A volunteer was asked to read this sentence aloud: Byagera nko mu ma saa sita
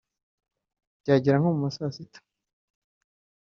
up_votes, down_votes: 2, 0